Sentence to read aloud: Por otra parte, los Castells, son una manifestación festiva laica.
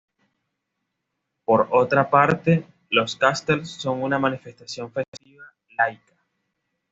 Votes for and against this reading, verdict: 2, 0, accepted